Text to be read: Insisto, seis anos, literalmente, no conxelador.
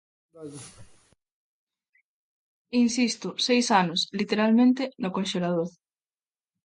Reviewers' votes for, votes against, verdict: 0, 2, rejected